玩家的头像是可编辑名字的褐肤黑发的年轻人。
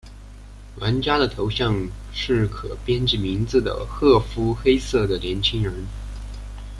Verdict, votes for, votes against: rejected, 1, 2